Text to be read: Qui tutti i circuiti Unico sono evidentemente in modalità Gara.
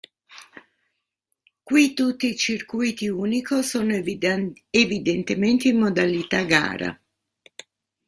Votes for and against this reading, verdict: 0, 2, rejected